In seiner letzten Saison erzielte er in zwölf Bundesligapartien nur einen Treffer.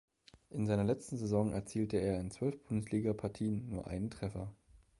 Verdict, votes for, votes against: accepted, 2, 0